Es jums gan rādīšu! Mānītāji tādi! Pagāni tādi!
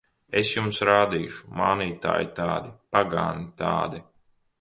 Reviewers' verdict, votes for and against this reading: rejected, 1, 2